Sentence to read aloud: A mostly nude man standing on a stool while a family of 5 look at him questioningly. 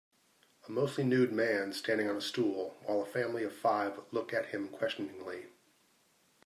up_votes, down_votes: 0, 2